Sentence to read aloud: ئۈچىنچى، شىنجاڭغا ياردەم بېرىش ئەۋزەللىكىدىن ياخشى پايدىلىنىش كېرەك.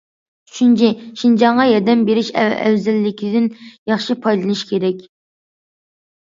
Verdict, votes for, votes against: rejected, 1, 2